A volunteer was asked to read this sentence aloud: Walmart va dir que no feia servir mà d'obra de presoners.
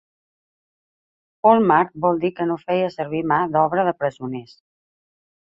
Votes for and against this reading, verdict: 3, 2, accepted